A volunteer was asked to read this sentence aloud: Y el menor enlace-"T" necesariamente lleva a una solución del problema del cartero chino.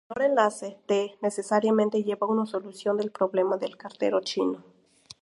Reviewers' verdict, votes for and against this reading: rejected, 0, 2